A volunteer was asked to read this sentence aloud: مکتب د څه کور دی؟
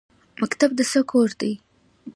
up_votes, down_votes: 2, 1